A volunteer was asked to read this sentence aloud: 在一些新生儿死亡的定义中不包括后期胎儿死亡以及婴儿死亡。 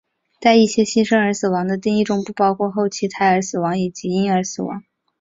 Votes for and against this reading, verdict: 2, 0, accepted